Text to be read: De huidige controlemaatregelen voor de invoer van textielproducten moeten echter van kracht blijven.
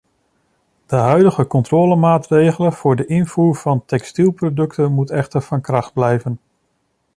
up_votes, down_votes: 1, 2